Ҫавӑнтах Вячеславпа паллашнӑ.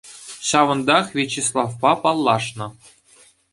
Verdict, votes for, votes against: accepted, 2, 0